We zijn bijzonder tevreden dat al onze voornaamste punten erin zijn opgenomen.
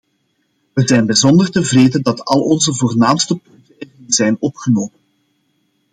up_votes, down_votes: 0, 2